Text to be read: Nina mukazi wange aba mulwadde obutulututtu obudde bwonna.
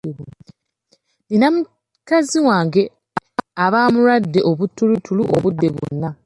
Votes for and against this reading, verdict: 0, 2, rejected